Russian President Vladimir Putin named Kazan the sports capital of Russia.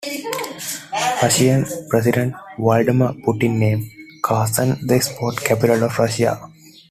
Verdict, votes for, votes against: accepted, 2, 1